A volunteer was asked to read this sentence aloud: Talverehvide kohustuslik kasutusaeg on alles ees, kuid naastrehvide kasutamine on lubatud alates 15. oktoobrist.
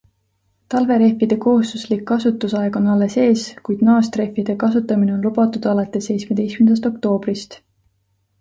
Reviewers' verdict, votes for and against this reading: rejected, 0, 2